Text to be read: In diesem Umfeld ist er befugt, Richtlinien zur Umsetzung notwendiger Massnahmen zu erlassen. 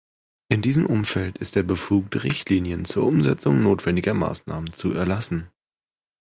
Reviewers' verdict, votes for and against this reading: accepted, 2, 0